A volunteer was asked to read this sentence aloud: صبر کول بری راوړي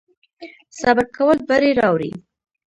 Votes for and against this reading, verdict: 2, 0, accepted